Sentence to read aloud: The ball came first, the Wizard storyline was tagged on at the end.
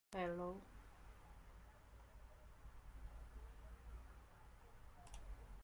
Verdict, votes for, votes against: rejected, 0, 3